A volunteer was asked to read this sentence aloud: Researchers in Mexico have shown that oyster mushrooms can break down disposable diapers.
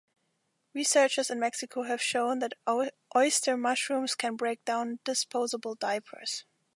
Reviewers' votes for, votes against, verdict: 1, 2, rejected